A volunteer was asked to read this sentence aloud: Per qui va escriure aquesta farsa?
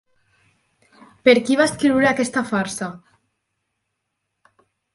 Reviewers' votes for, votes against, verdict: 6, 0, accepted